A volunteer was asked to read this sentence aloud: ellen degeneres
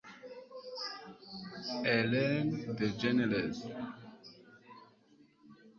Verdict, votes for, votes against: rejected, 0, 2